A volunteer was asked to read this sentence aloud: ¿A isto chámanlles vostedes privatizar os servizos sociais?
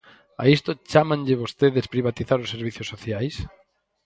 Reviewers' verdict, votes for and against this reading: rejected, 0, 4